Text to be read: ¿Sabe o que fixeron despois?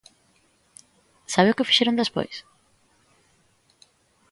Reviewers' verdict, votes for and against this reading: accepted, 2, 0